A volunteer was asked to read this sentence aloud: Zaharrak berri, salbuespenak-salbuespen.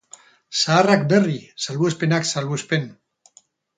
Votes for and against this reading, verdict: 4, 0, accepted